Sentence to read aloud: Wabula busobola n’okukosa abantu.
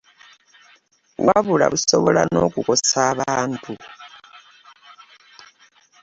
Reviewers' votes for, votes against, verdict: 0, 2, rejected